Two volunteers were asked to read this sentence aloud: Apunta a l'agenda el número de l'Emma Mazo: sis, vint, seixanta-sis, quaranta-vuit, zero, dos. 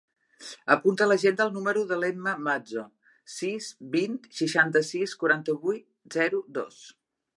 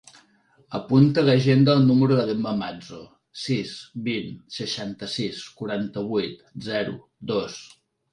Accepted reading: second